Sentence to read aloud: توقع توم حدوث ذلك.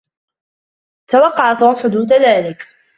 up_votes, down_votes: 1, 2